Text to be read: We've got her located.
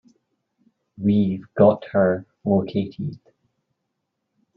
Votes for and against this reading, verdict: 2, 0, accepted